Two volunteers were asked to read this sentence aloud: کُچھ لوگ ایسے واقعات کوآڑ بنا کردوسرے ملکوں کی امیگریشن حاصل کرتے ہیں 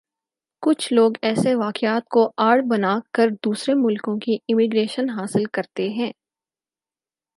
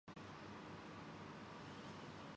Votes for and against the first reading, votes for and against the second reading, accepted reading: 4, 0, 0, 2, first